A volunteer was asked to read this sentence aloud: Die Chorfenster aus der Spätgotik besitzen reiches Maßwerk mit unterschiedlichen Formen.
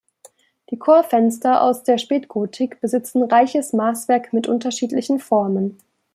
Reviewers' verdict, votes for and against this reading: accepted, 2, 0